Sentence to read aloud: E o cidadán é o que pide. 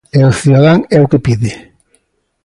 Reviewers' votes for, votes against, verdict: 2, 0, accepted